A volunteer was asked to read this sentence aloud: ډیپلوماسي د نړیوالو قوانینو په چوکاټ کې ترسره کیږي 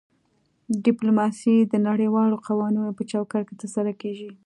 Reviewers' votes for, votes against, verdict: 2, 0, accepted